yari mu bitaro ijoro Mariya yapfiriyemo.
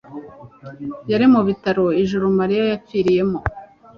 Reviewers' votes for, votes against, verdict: 2, 0, accepted